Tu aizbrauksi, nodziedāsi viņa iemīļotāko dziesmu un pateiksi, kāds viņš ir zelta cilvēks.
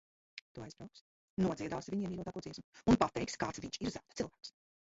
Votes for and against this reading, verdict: 0, 2, rejected